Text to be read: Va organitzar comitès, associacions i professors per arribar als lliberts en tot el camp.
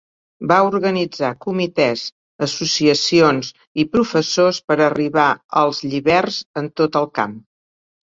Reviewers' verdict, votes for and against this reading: accepted, 5, 0